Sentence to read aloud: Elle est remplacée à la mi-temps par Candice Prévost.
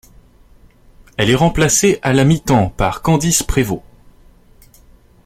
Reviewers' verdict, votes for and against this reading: accepted, 2, 0